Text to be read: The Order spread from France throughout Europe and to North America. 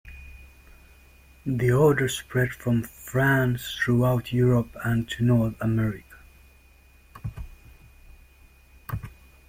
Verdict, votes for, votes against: accepted, 3, 0